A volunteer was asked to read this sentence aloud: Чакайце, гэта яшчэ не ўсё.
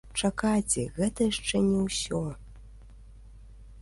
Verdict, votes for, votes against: accepted, 2, 1